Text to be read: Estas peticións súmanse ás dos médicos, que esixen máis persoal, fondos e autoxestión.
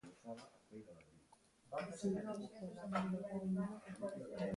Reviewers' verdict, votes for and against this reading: rejected, 0, 3